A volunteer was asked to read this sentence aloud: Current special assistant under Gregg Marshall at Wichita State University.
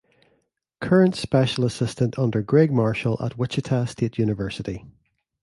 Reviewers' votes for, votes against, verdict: 2, 0, accepted